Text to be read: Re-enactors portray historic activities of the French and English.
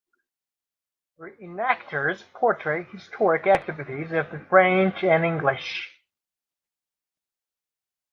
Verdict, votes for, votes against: accepted, 2, 0